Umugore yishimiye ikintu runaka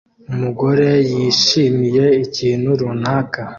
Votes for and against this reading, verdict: 2, 0, accepted